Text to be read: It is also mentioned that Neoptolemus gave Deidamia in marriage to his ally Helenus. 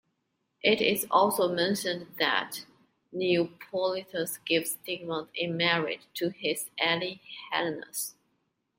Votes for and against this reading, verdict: 2, 1, accepted